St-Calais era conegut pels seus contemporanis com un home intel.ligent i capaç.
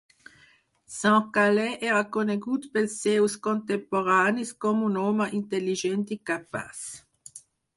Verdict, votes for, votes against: accepted, 4, 0